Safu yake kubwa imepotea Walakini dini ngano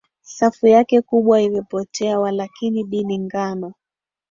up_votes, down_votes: 2, 0